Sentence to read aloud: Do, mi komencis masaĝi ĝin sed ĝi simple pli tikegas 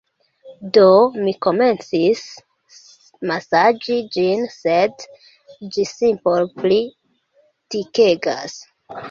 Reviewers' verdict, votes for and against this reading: rejected, 0, 2